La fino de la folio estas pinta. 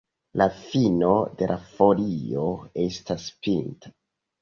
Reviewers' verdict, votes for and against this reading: accepted, 2, 0